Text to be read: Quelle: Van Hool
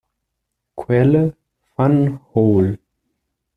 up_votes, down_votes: 2, 0